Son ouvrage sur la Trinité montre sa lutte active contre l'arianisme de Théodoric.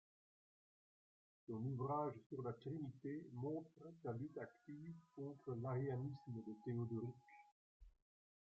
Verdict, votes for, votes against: rejected, 0, 2